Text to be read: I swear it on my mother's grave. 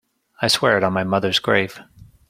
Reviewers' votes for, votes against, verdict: 2, 0, accepted